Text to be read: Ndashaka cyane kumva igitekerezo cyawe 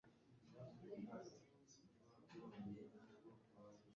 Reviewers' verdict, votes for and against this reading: rejected, 0, 2